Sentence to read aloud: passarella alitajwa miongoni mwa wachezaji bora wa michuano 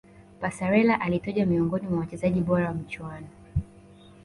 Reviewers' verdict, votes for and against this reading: accepted, 2, 0